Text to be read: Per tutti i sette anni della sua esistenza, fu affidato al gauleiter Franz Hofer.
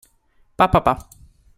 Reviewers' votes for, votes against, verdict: 1, 2, rejected